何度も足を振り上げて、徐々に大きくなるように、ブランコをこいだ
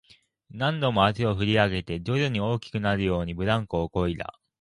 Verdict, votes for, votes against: accepted, 3, 0